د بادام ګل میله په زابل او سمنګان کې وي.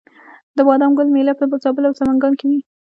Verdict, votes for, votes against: accepted, 2, 0